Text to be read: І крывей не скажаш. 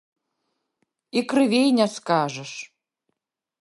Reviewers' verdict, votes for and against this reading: rejected, 0, 2